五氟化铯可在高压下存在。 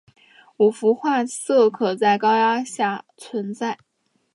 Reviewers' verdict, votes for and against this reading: accepted, 2, 0